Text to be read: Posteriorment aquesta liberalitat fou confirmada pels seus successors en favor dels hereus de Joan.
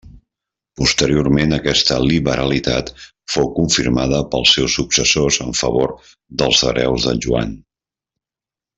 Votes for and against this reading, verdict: 1, 2, rejected